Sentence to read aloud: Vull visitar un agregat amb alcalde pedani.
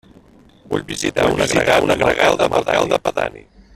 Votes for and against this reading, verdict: 0, 2, rejected